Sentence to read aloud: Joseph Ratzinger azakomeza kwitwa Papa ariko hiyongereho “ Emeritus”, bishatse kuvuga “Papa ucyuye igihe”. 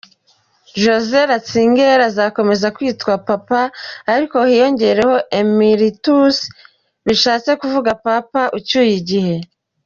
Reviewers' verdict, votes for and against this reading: accepted, 2, 0